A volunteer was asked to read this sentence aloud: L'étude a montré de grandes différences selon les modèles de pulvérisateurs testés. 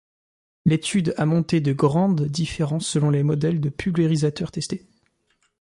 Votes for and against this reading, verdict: 1, 2, rejected